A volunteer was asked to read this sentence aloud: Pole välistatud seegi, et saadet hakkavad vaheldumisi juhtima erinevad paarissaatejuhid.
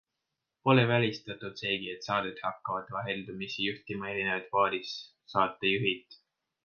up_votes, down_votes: 2, 0